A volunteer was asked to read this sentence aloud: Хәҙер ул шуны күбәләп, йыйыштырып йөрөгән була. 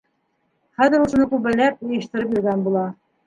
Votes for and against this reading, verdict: 1, 2, rejected